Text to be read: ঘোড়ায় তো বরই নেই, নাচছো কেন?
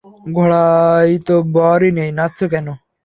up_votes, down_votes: 3, 0